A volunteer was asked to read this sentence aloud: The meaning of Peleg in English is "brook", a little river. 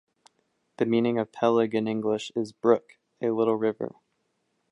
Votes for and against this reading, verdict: 1, 2, rejected